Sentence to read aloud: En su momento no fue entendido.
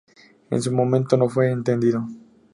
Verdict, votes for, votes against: accepted, 4, 0